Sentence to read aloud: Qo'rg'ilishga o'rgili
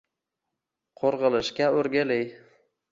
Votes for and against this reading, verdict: 2, 0, accepted